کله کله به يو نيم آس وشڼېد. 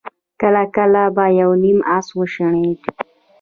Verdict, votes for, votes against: accepted, 2, 1